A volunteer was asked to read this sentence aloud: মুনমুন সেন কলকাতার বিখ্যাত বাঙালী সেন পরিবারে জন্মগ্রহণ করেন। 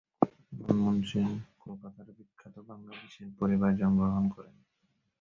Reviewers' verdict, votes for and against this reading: rejected, 2, 15